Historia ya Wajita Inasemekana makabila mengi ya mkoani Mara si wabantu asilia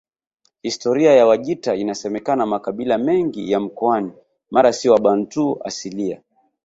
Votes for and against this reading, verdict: 1, 2, rejected